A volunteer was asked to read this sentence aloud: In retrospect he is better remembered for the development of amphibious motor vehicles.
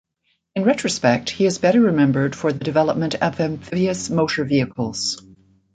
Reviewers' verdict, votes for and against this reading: accepted, 2, 0